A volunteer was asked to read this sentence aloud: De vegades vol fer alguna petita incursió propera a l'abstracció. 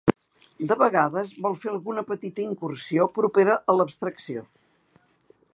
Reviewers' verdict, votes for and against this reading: accepted, 2, 0